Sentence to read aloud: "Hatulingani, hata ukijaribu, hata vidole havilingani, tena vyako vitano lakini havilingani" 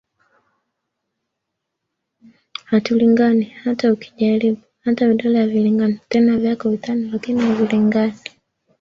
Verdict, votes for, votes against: accepted, 3, 0